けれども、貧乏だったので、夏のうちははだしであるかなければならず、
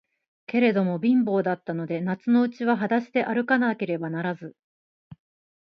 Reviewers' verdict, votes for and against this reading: accepted, 2, 0